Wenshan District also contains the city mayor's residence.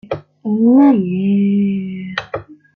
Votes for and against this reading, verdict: 0, 2, rejected